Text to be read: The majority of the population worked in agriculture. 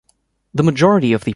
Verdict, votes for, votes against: rejected, 0, 2